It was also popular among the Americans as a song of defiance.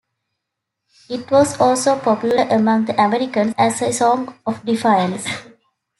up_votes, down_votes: 2, 0